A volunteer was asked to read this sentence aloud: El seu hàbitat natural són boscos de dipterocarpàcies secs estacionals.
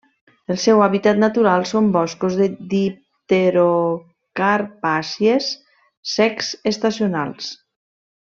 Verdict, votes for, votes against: rejected, 1, 2